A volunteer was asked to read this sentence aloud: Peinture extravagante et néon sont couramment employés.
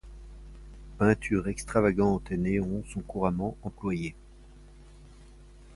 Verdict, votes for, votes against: accepted, 2, 0